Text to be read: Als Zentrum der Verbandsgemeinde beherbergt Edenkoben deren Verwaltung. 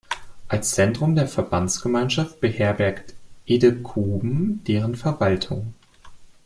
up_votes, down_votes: 0, 2